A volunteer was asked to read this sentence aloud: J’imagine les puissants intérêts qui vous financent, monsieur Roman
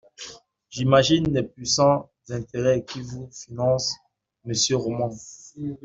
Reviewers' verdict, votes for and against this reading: accepted, 2, 0